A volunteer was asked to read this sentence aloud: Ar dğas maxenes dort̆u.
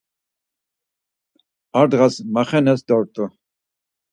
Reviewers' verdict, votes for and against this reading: accepted, 4, 0